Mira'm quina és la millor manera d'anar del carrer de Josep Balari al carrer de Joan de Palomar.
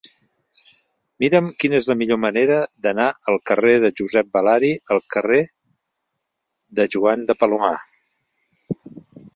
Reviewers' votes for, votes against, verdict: 0, 2, rejected